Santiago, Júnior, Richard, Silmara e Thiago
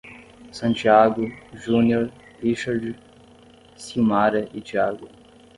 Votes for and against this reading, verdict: 5, 5, rejected